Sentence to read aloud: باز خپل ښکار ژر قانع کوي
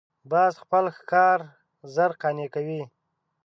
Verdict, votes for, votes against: accepted, 2, 0